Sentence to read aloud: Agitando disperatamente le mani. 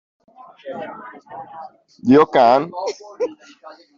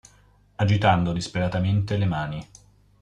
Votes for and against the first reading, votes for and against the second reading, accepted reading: 0, 2, 2, 0, second